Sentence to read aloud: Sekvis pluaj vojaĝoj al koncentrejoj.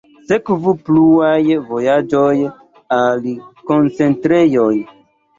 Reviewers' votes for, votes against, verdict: 1, 2, rejected